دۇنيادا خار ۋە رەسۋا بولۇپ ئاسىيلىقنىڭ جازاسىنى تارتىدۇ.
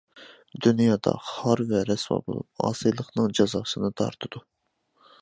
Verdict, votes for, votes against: accepted, 2, 1